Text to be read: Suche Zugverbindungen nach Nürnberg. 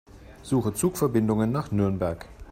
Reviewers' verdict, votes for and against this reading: accepted, 2, 0